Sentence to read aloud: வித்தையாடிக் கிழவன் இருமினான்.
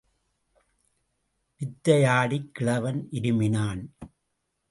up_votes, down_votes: 2, 0